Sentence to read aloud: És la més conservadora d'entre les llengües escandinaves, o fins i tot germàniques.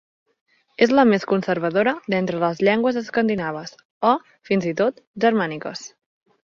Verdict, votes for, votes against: accepted, 4, 0